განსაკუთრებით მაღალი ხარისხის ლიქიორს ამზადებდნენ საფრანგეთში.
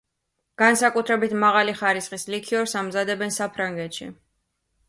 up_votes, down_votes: 2, 0